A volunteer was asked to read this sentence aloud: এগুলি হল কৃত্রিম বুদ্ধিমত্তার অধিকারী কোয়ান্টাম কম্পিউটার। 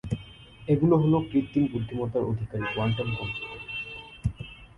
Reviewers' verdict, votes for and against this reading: rejected, 1, 2